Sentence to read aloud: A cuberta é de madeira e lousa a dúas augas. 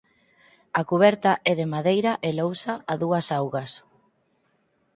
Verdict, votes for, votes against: accepted, 4, 0